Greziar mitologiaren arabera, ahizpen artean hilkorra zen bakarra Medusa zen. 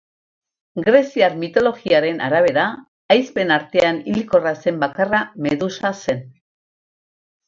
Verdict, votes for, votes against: rejected, 2, 2